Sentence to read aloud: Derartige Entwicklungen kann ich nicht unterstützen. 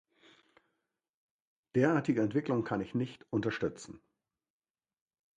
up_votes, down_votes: 2, 1